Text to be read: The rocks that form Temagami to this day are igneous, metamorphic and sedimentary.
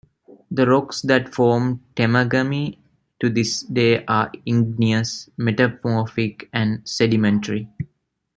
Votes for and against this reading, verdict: 2, 1, accepted